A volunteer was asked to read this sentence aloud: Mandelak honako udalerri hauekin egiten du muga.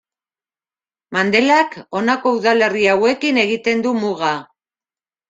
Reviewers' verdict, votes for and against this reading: accepted, 2, 0